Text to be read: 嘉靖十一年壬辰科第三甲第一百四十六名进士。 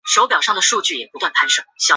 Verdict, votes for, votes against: rejected, 1, 2